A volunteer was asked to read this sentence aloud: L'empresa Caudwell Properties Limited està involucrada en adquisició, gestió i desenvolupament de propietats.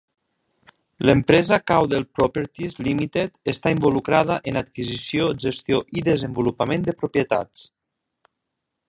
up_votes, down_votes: 3, 0